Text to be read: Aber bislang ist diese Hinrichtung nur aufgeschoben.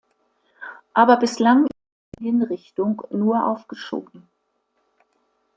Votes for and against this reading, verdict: 1, 2, rejected